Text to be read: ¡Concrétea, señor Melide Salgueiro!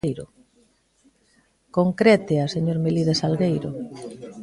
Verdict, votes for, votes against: rejected, 0, 2